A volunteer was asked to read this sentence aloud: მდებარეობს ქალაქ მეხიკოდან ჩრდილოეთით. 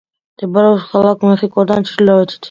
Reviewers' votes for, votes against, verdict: 2, 0, accepted